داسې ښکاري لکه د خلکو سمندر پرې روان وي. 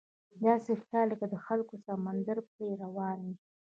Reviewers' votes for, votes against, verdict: 2, 0, accepted